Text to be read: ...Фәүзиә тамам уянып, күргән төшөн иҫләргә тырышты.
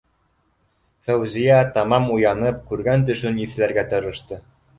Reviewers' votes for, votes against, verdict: 1, 2, rejected